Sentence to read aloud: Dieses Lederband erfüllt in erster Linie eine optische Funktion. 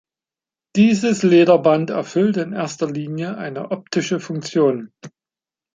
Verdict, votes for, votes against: accepted, 2, 1